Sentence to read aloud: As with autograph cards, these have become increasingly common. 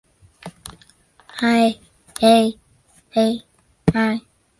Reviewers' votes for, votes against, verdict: 0, 2, rejected